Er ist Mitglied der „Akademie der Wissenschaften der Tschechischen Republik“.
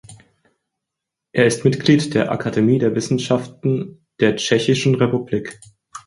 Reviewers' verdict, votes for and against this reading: accepted, 4, 0